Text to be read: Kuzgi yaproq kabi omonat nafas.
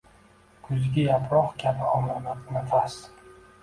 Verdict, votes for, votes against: accepted, 2, 0